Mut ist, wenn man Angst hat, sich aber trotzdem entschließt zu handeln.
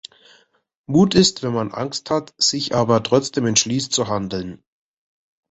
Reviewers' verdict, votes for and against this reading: accepted, 2, 0